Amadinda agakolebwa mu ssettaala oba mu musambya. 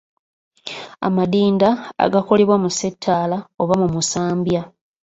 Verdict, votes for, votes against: accepted, 3, 1